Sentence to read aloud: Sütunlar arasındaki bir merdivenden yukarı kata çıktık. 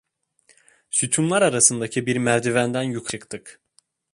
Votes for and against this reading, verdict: 1, 2, rejected